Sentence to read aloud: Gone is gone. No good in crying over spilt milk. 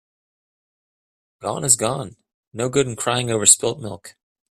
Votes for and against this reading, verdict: 2, 0, accepted